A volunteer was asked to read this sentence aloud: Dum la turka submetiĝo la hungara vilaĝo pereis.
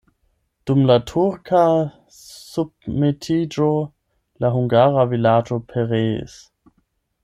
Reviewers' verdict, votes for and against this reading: rejected, 4, 8